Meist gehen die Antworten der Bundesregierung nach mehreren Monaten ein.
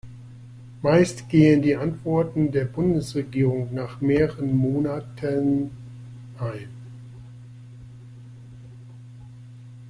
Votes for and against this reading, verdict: 1, 2, rejected